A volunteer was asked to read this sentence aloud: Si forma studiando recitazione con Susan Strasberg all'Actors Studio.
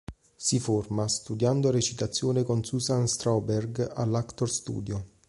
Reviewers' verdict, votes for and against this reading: rejected, 0, 3